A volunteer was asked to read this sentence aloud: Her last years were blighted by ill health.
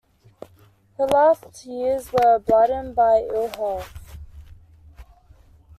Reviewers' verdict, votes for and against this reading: rejected, 0, 2